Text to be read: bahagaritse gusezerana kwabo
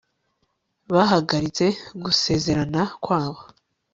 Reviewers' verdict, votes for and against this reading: accepted, 5, 0